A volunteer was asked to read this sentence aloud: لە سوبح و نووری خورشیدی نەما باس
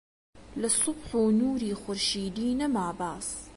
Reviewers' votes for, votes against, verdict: 2, 0, accepted